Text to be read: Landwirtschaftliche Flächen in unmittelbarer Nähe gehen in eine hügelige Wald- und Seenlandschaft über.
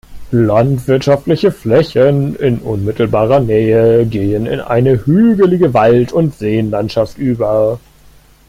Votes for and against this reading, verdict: 0, 2, rejected